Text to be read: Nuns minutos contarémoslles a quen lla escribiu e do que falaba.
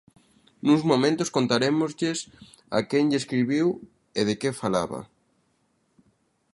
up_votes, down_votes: 0, 2